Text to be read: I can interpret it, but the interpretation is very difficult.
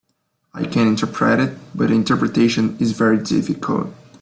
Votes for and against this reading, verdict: 0, 2, rejected